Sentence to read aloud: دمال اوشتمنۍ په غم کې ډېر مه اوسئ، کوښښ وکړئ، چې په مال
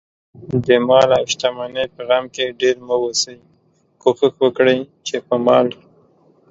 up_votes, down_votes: 2, 0